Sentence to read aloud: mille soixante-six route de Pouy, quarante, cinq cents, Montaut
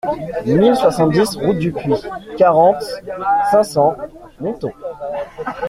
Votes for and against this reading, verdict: 0, 2, rejected